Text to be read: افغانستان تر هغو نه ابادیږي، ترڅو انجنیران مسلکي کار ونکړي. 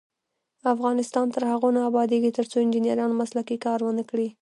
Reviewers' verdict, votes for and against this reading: rejected, 0, 2